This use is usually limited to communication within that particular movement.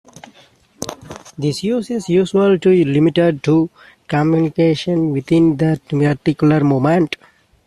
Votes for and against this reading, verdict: 0, 2, rejected